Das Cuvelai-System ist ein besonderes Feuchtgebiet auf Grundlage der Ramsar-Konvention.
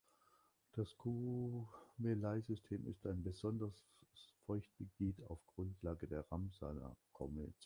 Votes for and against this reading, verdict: 0, 2, rejected